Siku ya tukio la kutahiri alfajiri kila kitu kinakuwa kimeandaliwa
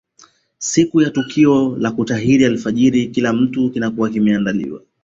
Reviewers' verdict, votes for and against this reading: rejected, 0, 2